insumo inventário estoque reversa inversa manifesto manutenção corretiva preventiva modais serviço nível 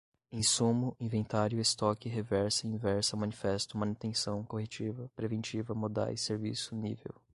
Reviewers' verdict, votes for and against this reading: accepted, 2, 0